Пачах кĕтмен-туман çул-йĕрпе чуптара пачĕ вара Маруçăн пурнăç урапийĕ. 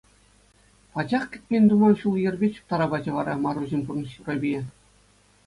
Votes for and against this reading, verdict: 2, 0, accepted